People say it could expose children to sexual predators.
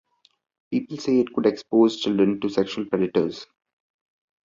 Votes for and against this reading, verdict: 2, 1, accepted